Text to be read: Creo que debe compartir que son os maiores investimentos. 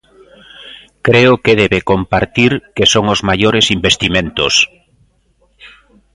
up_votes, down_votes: 2, 0